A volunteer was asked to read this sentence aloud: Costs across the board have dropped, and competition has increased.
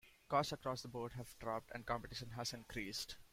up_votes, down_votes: 2, 0